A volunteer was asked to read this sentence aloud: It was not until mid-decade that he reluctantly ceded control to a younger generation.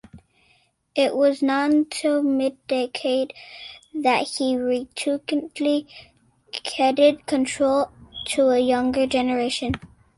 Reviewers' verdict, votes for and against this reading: rejected, 1, 3